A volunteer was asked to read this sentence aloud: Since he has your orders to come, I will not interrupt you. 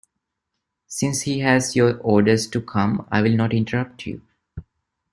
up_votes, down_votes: 2, 0